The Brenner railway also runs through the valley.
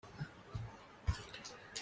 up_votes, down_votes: 0, 2